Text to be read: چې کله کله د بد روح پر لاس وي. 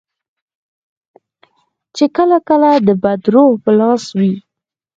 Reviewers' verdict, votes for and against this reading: accepted, 4, 0